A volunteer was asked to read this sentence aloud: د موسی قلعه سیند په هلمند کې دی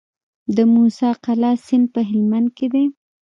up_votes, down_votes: 1, 2